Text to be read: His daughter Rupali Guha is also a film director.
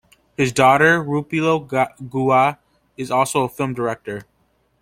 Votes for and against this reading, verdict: 0, 2, rejected